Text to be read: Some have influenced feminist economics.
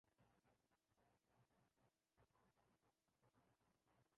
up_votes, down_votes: 0, 2